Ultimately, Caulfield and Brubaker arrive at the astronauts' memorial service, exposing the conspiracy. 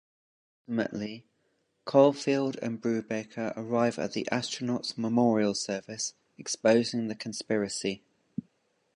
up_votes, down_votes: 1, 2